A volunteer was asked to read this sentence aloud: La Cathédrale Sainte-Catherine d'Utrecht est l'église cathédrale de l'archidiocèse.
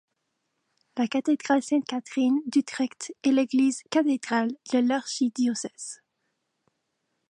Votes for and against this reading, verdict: 1, 2, rejected